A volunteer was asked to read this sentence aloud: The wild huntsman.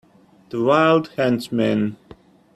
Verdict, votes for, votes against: accepted, 2, 0